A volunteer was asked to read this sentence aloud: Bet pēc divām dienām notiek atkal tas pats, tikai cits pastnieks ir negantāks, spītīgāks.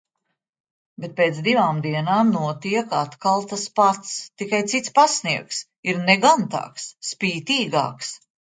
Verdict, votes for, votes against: accepted, 2, 0